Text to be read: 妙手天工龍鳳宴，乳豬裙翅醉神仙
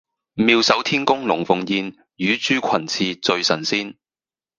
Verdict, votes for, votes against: rejected, 2, 2